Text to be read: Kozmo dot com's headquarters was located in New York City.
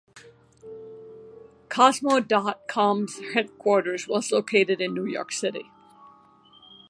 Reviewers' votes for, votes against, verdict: 2, 0, accepted